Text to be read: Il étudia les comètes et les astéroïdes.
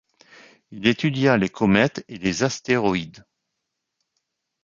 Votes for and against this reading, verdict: 2, 0, accepted